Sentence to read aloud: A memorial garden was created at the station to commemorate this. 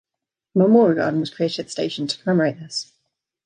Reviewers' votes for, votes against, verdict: 2, 0, accepted